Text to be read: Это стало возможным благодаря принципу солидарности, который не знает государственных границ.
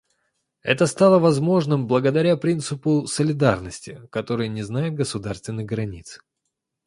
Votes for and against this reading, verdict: 2, 0, accepted